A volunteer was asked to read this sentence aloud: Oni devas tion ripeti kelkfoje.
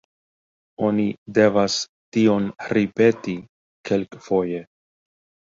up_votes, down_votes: 2, 0